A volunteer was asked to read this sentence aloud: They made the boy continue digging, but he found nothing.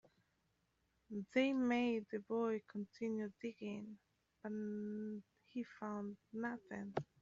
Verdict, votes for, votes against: rejected, 12, 15